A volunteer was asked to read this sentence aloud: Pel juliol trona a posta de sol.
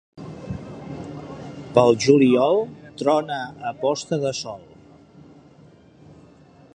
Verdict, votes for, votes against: accepted, 2, 0